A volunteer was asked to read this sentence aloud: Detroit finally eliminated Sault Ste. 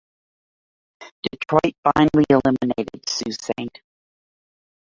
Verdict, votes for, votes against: rejected, 0, 2